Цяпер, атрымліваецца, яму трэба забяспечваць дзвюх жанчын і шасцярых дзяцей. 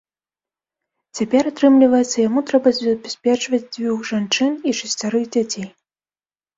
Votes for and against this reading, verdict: 0, 2, rejected